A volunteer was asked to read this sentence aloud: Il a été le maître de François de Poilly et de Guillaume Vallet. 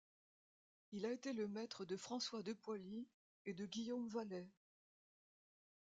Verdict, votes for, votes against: accepted, 2, 0